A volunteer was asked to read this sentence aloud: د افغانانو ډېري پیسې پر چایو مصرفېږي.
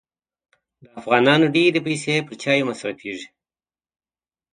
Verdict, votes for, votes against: accepted, 2, 0